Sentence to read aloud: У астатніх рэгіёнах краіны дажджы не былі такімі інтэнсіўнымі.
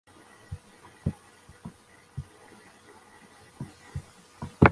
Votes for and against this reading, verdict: 0, 2, rejected